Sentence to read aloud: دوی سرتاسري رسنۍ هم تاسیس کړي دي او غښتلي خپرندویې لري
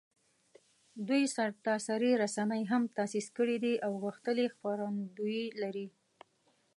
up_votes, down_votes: 2, 0